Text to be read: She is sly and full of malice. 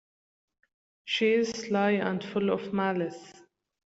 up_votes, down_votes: 2, 0